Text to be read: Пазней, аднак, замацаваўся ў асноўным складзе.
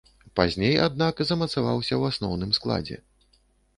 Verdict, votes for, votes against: accepted, 2, 0